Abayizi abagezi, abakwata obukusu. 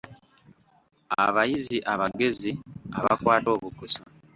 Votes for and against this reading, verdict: 1, 2, rejected